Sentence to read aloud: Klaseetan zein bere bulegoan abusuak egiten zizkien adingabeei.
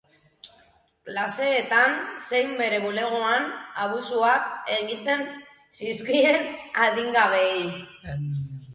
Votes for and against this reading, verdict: 2, 2, rejected